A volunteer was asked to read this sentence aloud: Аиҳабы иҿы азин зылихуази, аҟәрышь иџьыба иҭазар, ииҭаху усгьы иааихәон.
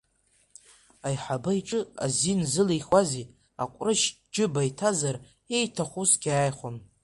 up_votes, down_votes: 0, 2